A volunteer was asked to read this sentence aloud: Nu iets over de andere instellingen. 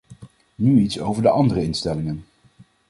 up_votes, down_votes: 2, 0